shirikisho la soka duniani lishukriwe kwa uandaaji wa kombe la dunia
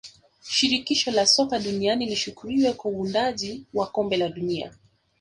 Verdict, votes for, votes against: rejected, 1, 2